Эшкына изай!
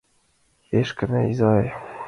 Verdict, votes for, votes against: accepted, 2, 0